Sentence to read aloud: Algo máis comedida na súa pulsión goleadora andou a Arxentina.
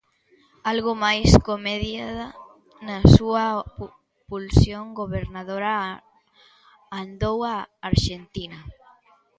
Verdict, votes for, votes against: rejected, 0, 2